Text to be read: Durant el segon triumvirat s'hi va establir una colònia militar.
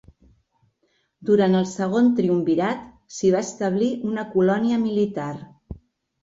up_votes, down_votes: 2, 0